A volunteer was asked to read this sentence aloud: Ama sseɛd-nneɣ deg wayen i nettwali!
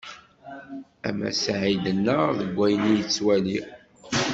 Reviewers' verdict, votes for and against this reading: rejected, 1, 2